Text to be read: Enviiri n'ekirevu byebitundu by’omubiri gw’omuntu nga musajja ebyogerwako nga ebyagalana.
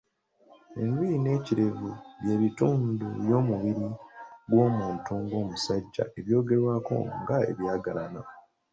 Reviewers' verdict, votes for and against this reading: accepted, 2, 1